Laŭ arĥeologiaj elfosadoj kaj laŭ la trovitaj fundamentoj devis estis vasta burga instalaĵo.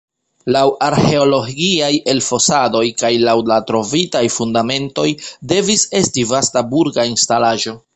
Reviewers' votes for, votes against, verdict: 1, 2, rejected